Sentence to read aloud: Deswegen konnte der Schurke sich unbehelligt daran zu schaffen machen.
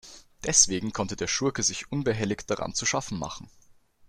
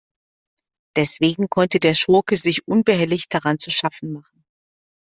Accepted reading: first